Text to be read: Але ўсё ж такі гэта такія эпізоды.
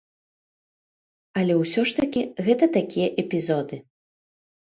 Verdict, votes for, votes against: accepted, 2, 0